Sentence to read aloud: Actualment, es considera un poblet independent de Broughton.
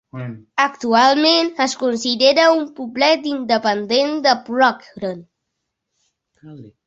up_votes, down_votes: 3, 0